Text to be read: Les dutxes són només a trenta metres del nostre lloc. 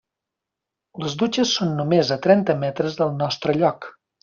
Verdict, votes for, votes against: accepted, 3, 0